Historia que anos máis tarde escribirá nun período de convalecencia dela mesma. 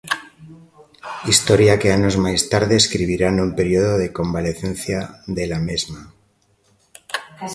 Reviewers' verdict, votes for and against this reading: rejected, 0, 2